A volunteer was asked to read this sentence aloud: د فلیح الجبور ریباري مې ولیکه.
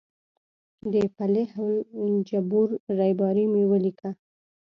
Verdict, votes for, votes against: accepted, 2, 0